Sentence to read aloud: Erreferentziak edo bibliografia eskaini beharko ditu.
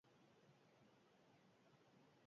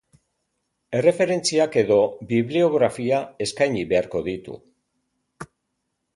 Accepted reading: second